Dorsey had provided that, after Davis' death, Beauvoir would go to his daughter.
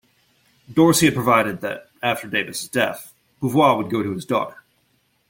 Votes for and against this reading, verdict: 2, 0, accepted